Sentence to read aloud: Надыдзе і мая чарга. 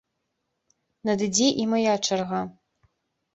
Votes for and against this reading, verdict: 0, 2, rejected